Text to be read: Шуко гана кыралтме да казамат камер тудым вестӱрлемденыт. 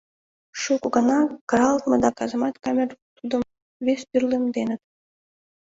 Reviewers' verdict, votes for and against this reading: rejected, 1, 2